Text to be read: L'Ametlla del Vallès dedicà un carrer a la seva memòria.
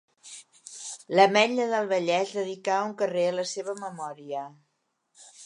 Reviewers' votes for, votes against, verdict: 2, 0, accepted